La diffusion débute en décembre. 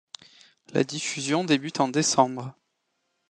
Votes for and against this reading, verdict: 2, 0, accepted